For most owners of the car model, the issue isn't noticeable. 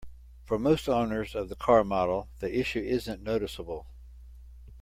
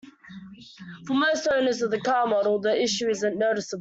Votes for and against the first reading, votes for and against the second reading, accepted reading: 2, 0, 0, 2, first